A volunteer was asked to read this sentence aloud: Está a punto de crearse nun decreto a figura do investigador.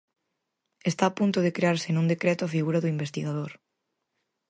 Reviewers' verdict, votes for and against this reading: accepted, 4, 0